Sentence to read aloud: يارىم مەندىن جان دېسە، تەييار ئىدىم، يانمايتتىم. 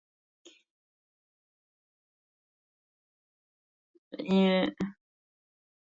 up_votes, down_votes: 0, 2